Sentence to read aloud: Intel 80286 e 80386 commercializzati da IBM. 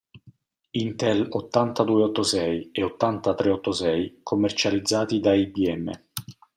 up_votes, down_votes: 0, 2